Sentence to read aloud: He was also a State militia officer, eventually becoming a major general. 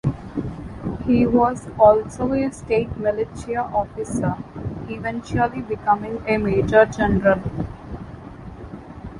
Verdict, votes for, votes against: accepted, 2, 0